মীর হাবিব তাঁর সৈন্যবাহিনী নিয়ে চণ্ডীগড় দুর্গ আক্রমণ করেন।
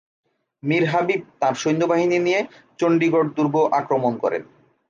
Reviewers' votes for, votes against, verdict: 2, 0, accepted